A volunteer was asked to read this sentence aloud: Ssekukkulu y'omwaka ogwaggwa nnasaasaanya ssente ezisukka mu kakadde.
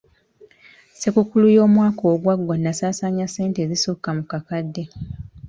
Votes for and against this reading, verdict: 1, 2, rejected